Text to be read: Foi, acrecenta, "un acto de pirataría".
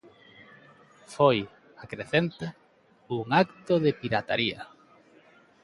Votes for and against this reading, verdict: 2, 0, accepted